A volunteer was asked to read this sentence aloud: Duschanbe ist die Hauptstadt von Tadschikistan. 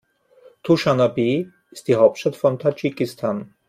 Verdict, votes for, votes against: accepted, 3, 2